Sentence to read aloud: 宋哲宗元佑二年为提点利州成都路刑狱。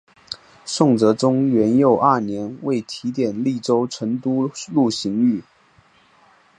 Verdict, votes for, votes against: accepted, 3, 1